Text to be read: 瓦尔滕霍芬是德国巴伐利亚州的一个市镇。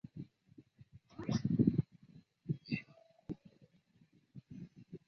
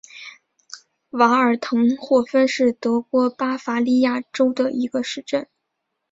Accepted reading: second